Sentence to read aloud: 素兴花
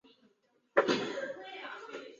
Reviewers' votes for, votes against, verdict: 0, 2, rejected